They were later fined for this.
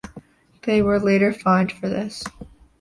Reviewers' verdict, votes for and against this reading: accepted, 2, 0